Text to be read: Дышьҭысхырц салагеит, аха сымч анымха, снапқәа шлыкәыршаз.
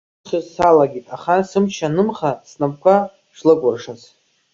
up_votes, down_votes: 0, 2